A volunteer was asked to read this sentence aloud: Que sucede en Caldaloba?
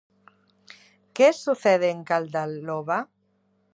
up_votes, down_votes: 2, 0